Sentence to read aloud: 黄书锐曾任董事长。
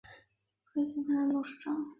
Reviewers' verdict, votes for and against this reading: rejected, 1, 3